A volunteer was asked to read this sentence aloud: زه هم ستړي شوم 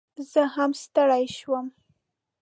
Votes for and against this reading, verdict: 0, 2, rejected